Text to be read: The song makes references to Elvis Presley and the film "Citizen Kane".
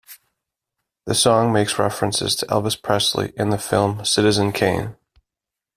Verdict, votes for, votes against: accepted, 2, 0